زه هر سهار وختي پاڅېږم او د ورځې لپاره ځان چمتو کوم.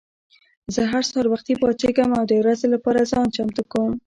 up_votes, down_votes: 2, 0